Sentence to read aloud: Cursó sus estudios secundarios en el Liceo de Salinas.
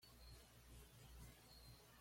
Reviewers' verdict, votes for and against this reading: rejected, 1, 2